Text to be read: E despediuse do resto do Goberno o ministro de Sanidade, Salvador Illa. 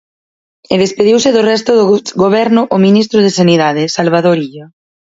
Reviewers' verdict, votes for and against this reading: rejected, 2, 4